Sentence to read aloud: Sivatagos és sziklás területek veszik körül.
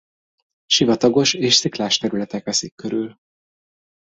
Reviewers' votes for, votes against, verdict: 1, 2, rejected